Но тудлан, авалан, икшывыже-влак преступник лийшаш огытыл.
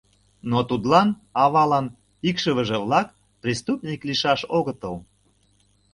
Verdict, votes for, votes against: accepted, 2, 0